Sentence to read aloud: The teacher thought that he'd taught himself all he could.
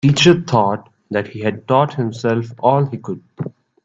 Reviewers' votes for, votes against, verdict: 2, 1, accepted